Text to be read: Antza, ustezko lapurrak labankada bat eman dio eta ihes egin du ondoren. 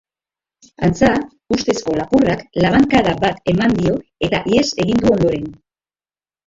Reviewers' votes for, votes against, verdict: 2, 0, accepted